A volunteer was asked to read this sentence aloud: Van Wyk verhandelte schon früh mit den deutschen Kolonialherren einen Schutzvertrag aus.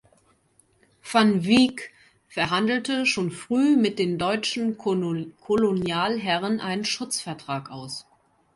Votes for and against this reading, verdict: 0, 2, rejected